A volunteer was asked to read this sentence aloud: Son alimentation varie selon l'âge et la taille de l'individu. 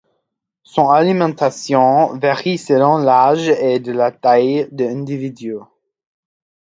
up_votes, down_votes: 1, 2